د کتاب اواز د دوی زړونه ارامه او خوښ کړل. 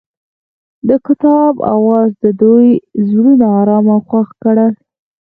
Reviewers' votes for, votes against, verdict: 4, 0, accepted